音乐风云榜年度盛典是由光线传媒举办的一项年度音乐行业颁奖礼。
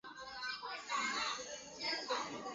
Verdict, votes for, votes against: rejected, 2, 5